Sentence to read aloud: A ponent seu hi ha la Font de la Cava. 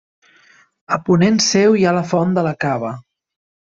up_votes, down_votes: 3, 1